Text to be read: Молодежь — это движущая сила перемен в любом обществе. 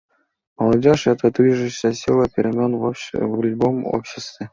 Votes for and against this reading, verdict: 0, 2, rejected